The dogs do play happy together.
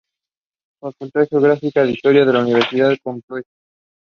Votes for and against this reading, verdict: 0, 2, rejected